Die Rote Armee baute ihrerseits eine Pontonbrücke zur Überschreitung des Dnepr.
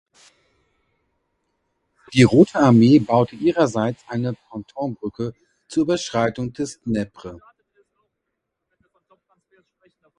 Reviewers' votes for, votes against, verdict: 0, 2, rejected